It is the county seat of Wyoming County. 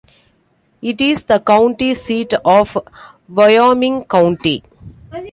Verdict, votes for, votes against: accepted, 2, 0